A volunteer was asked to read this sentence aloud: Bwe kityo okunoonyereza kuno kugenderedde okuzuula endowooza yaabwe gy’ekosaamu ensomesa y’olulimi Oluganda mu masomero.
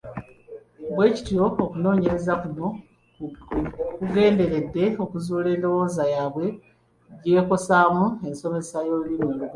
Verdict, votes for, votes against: rejected, 0, 2